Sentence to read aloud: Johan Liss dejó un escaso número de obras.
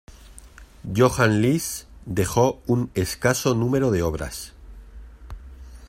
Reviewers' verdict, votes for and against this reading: accepted, 2, 0